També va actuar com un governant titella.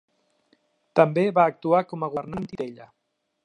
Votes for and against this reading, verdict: 0, 2, rejected